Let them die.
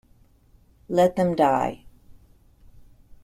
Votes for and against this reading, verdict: 1, 2, rejected